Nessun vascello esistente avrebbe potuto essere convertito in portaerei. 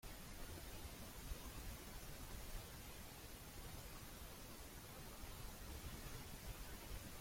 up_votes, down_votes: 0, 2